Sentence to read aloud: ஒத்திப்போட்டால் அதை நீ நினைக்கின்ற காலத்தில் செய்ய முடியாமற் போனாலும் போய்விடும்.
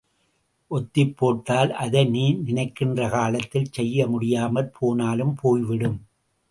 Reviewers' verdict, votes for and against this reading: accepted, 3, 0